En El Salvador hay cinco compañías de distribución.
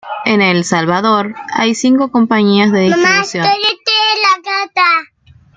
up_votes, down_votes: 0, 2